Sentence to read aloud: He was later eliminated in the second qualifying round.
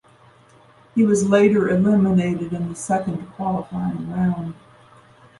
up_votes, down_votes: 2, 0